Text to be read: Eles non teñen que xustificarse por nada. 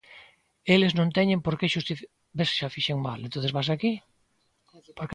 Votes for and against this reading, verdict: 0, 2, rejected